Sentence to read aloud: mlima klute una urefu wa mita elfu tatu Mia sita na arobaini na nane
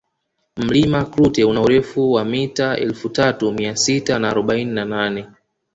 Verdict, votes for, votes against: rejected, 1, 2